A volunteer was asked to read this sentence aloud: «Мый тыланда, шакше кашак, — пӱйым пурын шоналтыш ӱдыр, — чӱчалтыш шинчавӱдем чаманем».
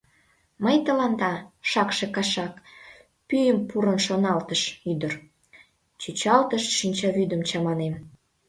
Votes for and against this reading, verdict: 2, 1, accepted